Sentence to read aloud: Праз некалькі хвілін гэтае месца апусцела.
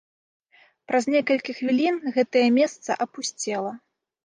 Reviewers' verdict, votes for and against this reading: accepted, 2, 0